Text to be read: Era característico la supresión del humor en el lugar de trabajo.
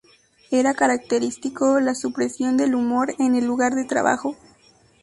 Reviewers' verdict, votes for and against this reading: accepted, 2, 0